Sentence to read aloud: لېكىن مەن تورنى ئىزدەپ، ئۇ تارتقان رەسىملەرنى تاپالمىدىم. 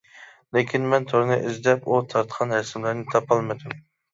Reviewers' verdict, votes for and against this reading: rejected, 0, 2